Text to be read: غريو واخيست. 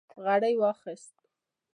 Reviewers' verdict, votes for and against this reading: rejected, 1, 2